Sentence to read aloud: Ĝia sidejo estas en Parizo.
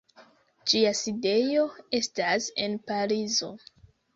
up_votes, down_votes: 2, 0